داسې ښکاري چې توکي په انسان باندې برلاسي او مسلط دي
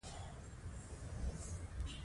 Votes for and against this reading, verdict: 2, 1, accepted